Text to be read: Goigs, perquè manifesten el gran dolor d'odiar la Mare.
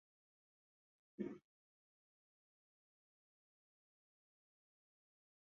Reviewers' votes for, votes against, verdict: 0, 2, rejected